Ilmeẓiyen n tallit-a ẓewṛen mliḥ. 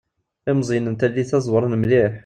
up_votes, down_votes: 3, 0